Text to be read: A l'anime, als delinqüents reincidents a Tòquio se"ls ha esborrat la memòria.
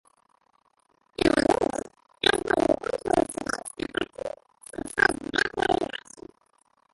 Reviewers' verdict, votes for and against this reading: rejected, 0, 2